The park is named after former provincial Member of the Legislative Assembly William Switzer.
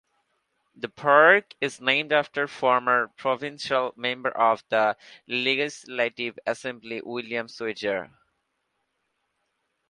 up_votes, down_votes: 0, 2